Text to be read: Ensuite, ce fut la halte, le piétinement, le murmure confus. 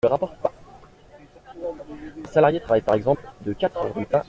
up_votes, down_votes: 0, 2